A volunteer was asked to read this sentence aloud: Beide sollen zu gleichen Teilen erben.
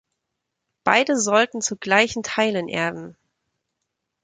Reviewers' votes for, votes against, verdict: 0, 2, rejected